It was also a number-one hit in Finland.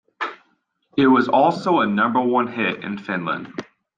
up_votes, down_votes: 2, 0